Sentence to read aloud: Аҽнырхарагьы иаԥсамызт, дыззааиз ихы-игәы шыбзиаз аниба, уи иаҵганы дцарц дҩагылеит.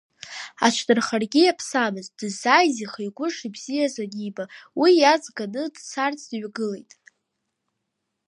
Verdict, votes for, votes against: rejected, 0, 2